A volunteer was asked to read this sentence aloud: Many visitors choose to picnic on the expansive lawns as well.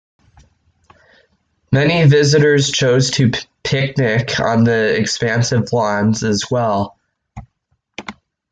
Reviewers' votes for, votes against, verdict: 0, 2, rejected